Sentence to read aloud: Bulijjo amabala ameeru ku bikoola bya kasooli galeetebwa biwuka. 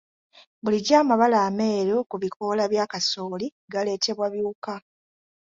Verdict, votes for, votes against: accepted, 2, 0